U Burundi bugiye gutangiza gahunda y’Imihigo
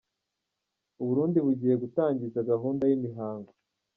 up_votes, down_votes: 0, 2